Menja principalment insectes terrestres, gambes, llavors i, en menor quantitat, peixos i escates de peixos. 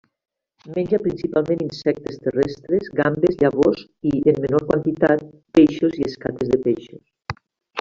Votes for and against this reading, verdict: 3, 1, accepted